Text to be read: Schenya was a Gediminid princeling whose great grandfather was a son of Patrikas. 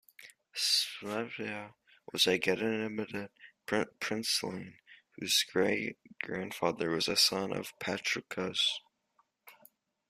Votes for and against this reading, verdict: 1, 2, rejected